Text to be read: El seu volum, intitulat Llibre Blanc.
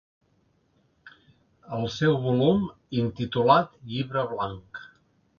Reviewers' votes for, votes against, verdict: 2, 1, accepted